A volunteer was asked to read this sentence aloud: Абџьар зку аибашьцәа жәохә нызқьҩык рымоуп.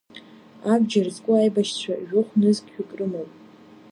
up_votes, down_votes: 2, 0